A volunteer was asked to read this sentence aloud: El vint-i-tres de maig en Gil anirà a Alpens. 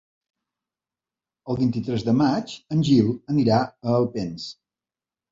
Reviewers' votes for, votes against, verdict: 2, 0, accepted